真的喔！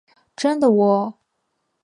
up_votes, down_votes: 2, 0